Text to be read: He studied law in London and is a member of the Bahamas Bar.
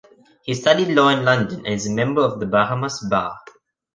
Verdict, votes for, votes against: accepted, 3, 0